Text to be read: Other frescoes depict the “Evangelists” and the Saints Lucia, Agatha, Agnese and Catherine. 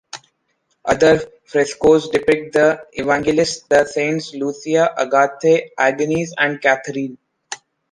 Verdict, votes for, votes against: rejected, 1, 2